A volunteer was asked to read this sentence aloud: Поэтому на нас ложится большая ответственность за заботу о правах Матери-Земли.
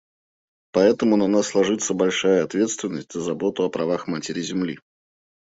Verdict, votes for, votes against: accepted, 2, 0